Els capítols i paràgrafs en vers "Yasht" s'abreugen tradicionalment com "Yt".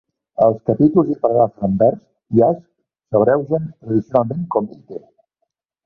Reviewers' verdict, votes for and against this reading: rejected, 0, 2